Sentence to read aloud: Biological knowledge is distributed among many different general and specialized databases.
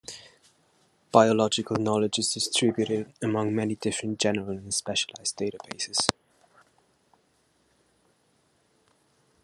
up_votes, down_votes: 1, 2